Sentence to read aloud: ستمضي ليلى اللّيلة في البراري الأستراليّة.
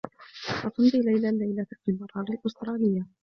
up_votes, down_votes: 2, 1